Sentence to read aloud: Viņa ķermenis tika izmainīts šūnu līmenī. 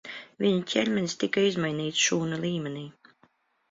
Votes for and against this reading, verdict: 2, 0, accepted